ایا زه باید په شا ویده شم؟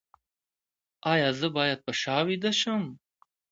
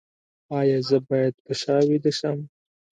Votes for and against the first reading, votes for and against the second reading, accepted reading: 2, 0, 1, 2, first